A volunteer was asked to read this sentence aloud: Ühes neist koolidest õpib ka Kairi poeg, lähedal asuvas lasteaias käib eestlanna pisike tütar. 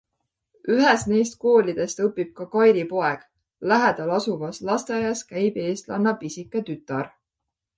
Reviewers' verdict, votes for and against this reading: accepted, 2, 0